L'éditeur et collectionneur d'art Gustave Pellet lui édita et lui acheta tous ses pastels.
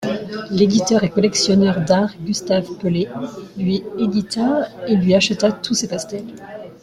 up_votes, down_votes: 0, 2